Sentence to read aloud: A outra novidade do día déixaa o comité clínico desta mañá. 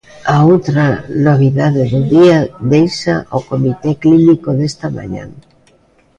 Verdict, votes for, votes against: rejected, 0, 2